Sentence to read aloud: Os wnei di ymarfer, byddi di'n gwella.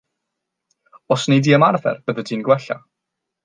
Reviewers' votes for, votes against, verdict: 3, 0, accepted